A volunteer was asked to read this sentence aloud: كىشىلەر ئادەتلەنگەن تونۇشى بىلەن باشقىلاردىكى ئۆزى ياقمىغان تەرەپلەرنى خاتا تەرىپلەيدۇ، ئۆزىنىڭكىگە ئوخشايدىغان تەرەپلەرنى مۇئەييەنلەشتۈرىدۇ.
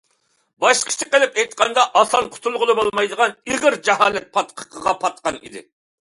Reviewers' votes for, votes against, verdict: 0, 2, rejected